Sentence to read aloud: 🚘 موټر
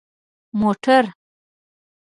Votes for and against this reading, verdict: 1, 2, rejected